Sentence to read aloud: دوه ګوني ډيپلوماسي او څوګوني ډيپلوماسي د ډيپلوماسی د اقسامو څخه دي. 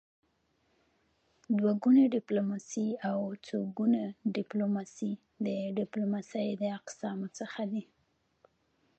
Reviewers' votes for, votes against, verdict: 1, 2, rejected